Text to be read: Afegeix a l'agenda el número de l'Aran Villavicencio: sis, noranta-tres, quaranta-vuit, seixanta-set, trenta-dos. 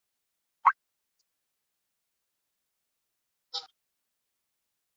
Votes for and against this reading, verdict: 0, 2, rejected